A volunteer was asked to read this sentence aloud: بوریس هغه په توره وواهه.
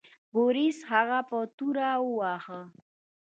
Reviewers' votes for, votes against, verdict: 1, 2, rejected